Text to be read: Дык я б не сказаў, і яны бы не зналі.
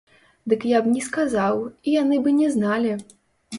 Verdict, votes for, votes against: rejected, 0, 2